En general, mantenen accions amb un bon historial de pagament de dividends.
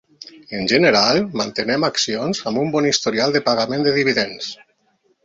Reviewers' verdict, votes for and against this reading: rejected, 0, 2